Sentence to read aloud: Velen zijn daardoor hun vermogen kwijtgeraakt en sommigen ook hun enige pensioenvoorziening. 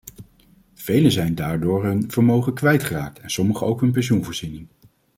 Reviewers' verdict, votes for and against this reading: rejected, 0, 2